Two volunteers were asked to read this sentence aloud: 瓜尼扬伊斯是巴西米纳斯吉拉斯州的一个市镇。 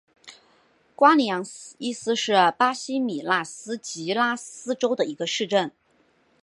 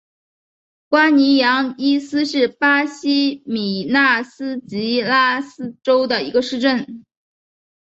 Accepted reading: second